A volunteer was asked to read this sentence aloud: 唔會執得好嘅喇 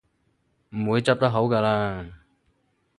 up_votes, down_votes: 2, 2